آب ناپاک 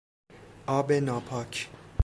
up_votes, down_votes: 2, 0